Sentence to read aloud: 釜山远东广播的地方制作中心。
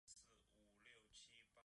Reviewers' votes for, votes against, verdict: 0, 3, rejected